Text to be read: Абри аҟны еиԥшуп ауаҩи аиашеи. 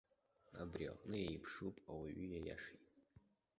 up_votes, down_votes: 1, 2